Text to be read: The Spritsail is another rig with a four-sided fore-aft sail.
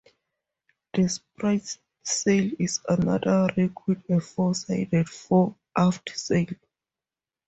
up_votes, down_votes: 2, 2